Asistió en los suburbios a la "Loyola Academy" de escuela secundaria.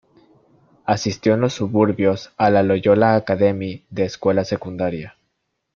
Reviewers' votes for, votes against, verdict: 2, 1, accepted